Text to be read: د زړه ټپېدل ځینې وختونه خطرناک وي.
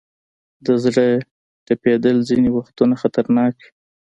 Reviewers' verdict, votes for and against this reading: accepted, 2, 1